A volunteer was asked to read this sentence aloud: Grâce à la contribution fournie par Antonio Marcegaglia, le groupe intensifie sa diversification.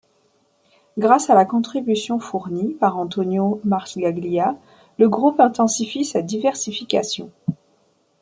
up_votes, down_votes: 2, 0